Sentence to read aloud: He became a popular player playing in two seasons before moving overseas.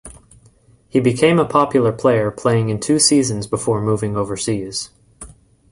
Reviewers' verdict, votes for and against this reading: accepted, 2, 0